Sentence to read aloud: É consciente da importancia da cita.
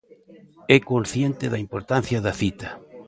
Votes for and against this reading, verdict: 0, 2, rejected